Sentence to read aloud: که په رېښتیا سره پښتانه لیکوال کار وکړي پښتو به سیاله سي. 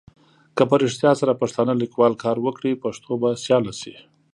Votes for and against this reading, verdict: 2, 0, accepted